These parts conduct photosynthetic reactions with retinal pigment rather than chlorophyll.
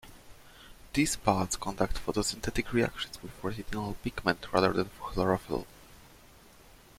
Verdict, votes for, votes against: accepted, 2, 0